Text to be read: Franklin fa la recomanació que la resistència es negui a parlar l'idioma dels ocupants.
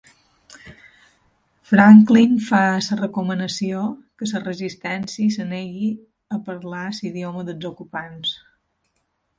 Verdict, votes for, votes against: rejected, 0, 2